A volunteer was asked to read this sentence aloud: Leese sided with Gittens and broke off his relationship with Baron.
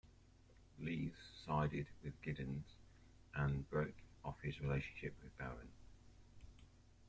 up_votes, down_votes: 2, 0